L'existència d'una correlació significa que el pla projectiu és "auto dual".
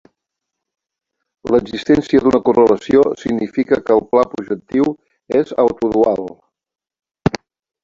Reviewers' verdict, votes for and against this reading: accepted, 2, 1